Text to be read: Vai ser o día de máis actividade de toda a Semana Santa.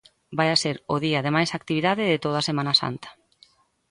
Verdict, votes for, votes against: rejected, 0, 2